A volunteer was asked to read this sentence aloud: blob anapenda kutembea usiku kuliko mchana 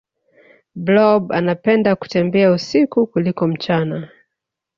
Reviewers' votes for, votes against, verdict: 2, 0, accepted